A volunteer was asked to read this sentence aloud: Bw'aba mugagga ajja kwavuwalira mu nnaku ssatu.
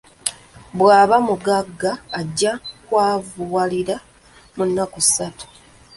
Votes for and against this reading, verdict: 1, 2, rejected